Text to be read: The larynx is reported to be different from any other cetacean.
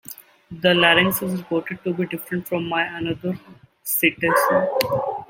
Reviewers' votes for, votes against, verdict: 0, 2, rejected